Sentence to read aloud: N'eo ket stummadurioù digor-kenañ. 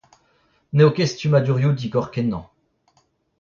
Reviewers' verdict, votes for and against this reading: rejected, 0, 2